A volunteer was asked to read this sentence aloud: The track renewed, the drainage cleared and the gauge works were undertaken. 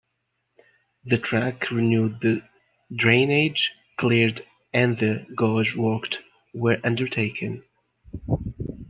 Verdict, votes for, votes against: rejected, 1, 2